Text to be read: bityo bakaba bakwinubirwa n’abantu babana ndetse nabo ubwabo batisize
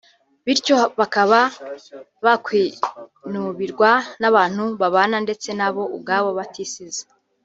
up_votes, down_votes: 2, 0